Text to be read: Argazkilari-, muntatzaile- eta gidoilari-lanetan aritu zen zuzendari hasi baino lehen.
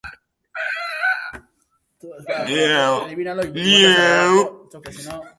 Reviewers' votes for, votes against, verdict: 0, 2, rejected